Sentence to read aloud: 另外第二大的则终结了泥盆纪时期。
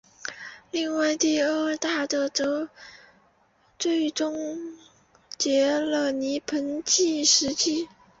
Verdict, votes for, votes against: rejected, 0, 2